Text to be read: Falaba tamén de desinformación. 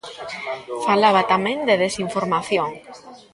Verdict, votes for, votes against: rejected, 1, 2